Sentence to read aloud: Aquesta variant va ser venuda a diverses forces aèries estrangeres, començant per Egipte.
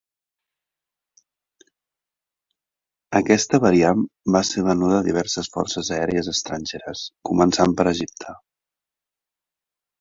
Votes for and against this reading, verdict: 2, 0, accepted